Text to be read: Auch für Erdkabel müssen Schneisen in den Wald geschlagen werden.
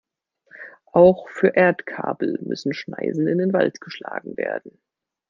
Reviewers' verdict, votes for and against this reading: accepted, 2, 0